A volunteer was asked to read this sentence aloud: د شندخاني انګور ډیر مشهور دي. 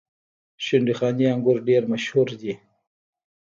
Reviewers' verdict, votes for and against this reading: rejected, 1, 2